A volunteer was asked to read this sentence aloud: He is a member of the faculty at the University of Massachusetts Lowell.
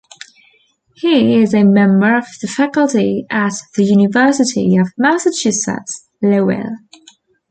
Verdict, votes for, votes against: accepted, 2, 0